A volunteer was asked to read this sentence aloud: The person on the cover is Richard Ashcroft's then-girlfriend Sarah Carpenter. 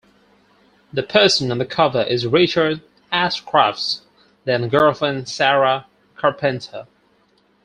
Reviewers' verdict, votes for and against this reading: rejected, 0, 4